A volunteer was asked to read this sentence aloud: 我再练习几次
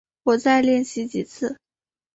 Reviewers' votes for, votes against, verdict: 3, 0, accepted